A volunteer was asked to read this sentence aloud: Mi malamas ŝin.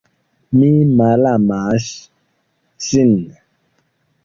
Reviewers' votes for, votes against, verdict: 1, 2, rejected